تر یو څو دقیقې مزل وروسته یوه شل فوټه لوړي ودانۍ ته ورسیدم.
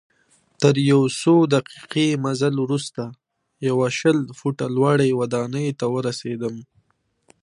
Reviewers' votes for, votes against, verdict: 2, 0, accepted